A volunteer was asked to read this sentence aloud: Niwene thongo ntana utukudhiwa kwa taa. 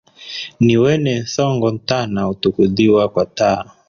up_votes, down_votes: 3, 1